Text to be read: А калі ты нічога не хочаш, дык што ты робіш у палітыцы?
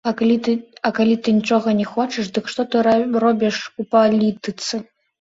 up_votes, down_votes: 0, 2